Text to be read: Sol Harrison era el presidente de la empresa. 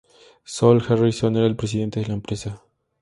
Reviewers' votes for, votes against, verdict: 2, 0, accepted